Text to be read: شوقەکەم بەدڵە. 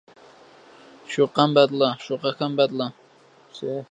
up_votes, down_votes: 0, 2